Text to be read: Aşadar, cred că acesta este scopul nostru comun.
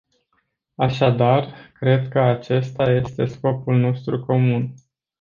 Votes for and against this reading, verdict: 2, 0, accepted